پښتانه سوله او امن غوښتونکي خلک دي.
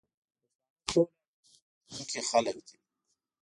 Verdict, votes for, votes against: rejected, 0, 2